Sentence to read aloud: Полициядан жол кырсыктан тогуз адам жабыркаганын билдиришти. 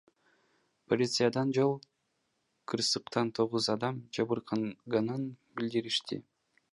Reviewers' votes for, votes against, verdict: 1, 2, rejected